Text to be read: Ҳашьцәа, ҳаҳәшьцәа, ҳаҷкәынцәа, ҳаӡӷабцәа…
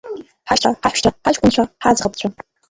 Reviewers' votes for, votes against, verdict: 1, 2, rejected